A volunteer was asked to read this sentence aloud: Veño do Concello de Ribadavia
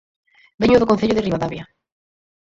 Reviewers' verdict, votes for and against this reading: rejected, 0, 4